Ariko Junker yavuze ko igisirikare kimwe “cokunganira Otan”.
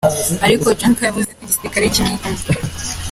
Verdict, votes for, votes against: rejected, 0, 2